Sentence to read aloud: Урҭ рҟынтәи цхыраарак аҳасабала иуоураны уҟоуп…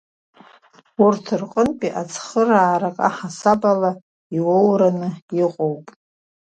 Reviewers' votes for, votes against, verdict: 0, 2, rejected